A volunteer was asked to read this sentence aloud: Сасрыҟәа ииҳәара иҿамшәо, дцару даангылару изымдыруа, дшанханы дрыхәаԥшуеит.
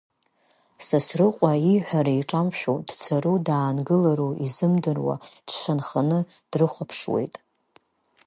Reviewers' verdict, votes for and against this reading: accepted, 3, 0